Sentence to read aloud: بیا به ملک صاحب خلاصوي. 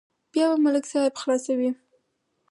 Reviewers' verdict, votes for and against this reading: accepted, 4, 0